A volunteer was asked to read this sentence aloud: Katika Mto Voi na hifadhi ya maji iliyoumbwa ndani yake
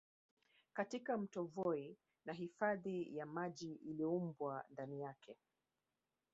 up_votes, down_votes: 1, 2